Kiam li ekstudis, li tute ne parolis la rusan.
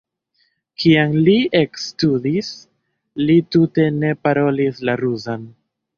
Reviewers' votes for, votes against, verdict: 0, 2, rejected